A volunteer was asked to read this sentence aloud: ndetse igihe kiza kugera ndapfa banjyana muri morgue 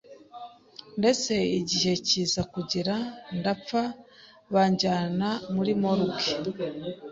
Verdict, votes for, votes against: accepted, 3, 0